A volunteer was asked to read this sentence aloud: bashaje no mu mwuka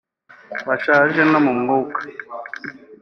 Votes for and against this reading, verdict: 2, 0, accepted